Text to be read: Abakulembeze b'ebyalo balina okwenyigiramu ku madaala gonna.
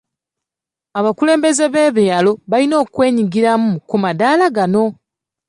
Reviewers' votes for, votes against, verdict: 1, 2, rejected